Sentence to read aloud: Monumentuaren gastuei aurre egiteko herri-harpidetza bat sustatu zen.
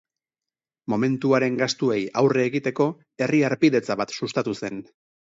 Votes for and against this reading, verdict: 0, 2, rejected